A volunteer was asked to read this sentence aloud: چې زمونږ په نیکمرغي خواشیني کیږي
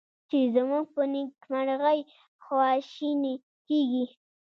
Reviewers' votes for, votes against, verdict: 1, 2, rejected